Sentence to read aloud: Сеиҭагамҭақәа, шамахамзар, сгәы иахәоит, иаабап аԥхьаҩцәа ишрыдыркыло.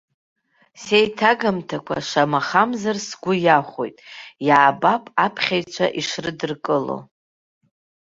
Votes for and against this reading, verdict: 2, 0, accepted